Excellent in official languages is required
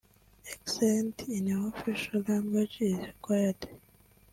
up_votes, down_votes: 0, 2